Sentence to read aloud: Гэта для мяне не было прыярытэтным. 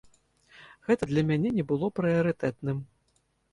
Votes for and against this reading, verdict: 1, 2, rejected